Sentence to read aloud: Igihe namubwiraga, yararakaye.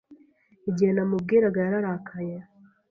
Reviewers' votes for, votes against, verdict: 2, 0, accepted